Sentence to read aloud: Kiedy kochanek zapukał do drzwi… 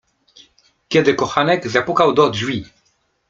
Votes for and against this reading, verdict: 2, 0, accepted